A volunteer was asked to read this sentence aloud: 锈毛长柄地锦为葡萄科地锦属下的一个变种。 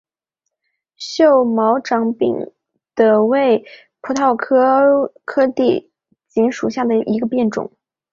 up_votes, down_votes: 0, 2